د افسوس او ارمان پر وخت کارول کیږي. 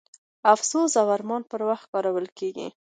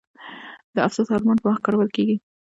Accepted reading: first